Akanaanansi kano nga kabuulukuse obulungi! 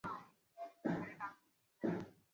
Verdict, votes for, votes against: rejected, 0, 2